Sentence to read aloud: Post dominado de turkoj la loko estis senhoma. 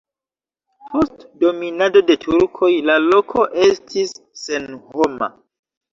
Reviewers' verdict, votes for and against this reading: rejected, 1, 2